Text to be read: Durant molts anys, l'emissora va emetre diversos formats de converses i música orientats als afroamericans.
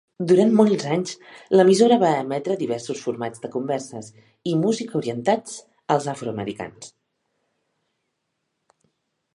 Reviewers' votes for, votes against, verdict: 3, 1, accepted